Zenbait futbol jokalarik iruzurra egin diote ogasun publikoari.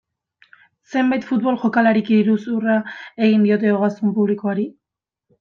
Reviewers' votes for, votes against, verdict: 2, 0, accepted